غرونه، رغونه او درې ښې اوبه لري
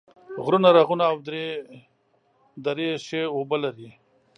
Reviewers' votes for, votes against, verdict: 0, 2, rejected